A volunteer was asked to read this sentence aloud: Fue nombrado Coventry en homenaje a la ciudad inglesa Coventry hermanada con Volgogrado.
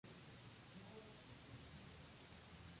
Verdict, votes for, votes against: rejected, 0, 2